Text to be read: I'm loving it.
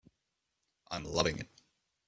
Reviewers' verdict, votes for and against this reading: rejected, 1, 2